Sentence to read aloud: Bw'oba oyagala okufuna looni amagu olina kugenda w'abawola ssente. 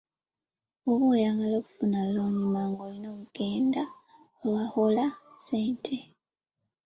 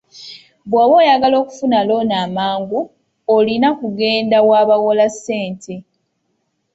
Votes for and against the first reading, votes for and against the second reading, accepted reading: 0, 2, 2, 0, second